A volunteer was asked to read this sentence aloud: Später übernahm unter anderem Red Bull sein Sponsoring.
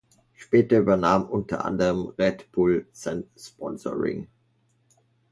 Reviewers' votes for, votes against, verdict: 2, 0, accepted